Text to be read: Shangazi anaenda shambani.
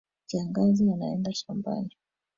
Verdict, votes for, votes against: rejected, 2, 2